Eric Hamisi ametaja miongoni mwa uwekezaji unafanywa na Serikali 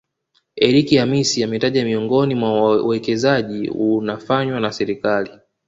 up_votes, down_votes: 2, 0